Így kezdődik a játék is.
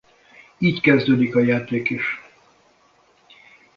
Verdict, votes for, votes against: accepted, 2, 0